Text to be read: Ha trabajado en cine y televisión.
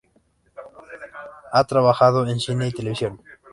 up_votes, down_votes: 0, 2